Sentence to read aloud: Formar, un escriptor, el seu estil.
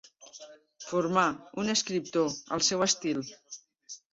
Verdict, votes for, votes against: rejected, 1, 2